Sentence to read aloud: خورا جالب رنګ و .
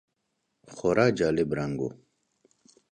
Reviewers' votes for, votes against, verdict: 2, 0, accepted